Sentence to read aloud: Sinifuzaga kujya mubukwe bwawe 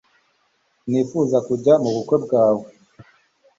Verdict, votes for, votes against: accepted, 3, 0